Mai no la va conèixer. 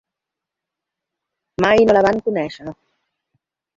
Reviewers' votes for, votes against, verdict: 0, 2, rejected